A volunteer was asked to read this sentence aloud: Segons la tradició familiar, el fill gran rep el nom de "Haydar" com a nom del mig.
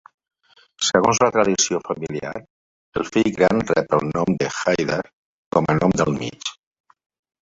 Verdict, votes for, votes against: accepted, 2, 0